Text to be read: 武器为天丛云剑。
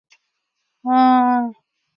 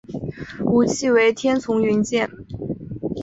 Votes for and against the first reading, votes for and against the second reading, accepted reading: 0, 4, 3, 0, second